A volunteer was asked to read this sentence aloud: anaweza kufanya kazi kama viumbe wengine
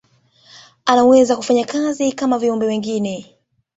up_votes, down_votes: 2, 1